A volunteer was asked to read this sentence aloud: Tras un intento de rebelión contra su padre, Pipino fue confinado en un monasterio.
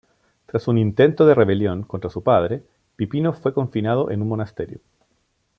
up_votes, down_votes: 2, 0